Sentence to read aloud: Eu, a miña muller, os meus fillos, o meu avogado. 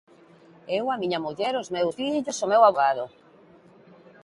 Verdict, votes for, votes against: rejected, 1, 2